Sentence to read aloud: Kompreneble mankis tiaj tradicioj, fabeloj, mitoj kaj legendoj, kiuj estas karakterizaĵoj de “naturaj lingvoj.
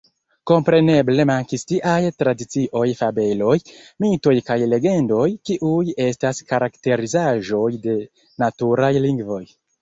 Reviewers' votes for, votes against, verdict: 2, 1, accepted